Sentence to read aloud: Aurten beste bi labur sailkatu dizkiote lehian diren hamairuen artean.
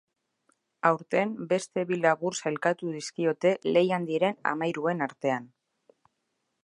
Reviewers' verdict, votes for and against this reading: accepted, 2, 0